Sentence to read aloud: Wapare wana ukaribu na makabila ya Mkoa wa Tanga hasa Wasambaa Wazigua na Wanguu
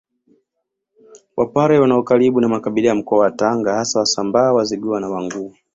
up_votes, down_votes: 2, 0